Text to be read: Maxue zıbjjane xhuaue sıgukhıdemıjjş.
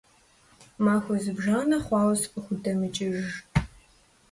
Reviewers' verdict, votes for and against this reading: rejected, 1, 2